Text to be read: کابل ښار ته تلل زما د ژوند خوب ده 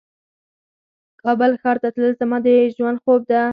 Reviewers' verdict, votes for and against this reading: accepted, 4, 0